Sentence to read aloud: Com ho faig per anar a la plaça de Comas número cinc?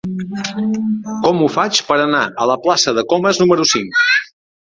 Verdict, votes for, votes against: rejected, 1, 2